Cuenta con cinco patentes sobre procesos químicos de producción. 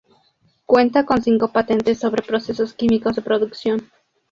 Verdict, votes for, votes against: accepted, 2, 0